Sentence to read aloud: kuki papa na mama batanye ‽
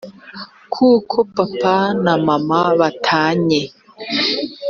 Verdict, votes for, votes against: rejected, 0, 2